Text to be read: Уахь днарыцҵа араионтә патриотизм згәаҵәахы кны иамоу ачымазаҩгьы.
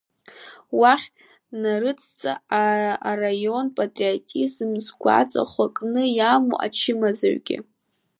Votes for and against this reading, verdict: 0, 2, rejected